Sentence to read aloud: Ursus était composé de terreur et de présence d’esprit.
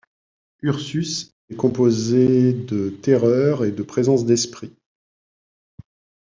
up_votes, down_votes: 1, 2